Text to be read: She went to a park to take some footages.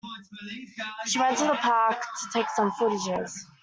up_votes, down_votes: 0, 2